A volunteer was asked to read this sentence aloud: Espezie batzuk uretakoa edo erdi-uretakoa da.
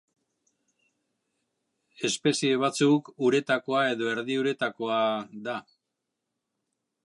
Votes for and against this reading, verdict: 3, 1, accepted